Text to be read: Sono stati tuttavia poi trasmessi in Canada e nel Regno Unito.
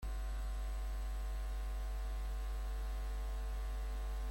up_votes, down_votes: 0, 2